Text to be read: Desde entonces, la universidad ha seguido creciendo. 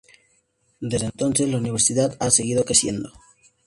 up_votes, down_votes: 0, 2